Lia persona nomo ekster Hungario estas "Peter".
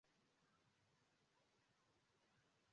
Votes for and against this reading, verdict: 0, 2, rejected